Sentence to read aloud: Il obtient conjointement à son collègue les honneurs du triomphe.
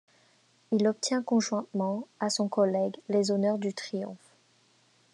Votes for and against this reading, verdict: 2, 0, accepted